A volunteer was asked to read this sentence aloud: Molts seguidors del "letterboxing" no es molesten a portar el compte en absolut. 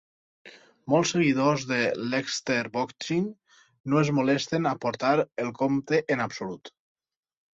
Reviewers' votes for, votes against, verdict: 2, 4, rejected